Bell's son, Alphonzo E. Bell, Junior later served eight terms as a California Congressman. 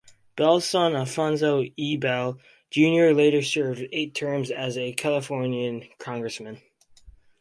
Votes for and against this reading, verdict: 0, 4, rejected